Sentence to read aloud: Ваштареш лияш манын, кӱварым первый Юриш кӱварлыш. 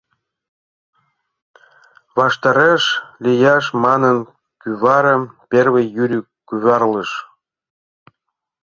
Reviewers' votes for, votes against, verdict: 0, 2, rejected